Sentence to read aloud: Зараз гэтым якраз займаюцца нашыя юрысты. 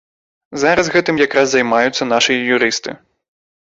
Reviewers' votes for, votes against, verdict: 2, 0, accepted